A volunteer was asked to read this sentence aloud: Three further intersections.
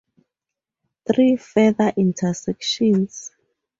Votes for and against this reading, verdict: 2, 0, accepted